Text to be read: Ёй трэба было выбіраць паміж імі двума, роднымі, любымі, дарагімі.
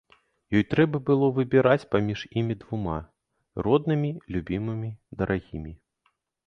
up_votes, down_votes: 0, 2